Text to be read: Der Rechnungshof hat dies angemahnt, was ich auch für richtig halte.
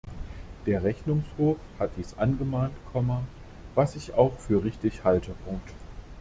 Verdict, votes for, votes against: rejected, 0, 2